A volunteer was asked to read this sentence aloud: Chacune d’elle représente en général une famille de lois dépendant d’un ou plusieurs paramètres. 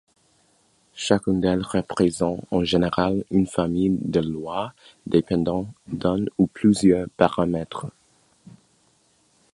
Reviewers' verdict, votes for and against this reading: accepted, 2, 1